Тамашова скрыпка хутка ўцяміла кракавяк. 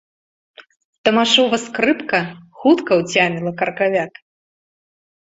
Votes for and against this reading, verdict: 2, 0, accepted